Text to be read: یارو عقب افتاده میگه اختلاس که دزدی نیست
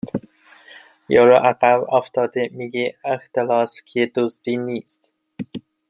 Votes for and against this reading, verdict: 2, 1, accepted